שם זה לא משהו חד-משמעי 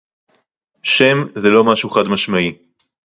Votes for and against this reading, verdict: 2, 0, accepted